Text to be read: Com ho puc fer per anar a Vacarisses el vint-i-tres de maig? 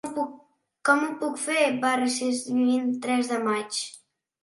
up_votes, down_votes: 0, 2